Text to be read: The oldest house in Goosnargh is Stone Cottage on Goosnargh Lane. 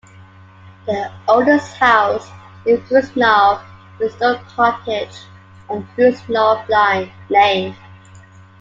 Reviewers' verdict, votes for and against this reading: rejected, 0, 2